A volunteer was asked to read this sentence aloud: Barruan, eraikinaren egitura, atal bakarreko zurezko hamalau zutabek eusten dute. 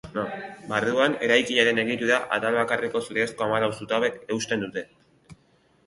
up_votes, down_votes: 1, 2